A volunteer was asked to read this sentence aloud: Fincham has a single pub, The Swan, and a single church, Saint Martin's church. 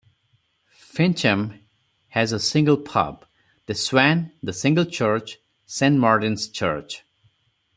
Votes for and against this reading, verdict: 2, 4, rejected